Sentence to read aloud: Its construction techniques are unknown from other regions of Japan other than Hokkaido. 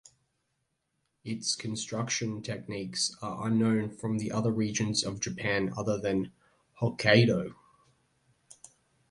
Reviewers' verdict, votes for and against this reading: rejected, 1, 2